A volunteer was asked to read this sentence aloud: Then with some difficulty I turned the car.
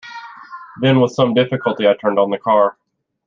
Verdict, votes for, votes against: rejected, 1, 2